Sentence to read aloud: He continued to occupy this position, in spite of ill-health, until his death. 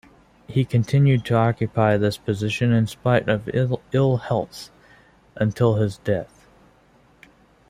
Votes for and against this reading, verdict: 1, 2, rejected